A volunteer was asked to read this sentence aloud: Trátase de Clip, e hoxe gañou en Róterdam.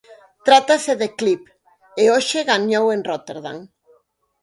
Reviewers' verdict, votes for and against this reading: accepted, 4, 0